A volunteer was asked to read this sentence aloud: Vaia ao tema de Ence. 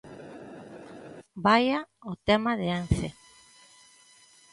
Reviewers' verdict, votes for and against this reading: accepted, 2, 0